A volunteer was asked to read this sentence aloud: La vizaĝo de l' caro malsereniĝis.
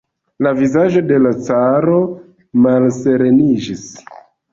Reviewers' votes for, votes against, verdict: 1, 2, rejected